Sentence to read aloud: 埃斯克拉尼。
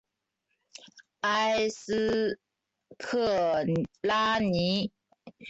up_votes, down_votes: 0, 2